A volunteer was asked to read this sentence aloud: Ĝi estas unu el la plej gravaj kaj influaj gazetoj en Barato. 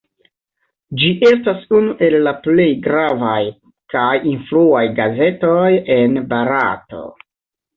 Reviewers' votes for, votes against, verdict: 1, 2, rejected